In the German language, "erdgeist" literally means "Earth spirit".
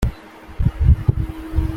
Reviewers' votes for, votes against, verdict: 0, 2, rejected